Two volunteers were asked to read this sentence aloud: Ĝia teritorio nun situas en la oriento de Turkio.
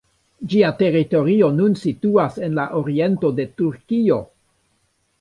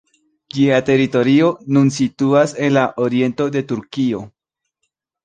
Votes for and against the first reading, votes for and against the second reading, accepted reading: 0, 2, 2, 1, second